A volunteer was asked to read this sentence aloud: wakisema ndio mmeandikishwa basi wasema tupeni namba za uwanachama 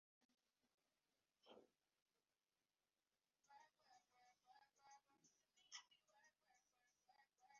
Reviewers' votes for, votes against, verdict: 0, 2, rejected